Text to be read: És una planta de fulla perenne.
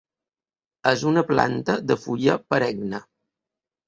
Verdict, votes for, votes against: accepted, 2, 0